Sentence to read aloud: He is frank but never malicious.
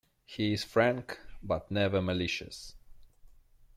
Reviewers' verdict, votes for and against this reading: accepted, 2, 0